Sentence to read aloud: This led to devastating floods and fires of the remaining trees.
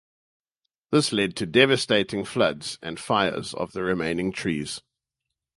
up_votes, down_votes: 4, 0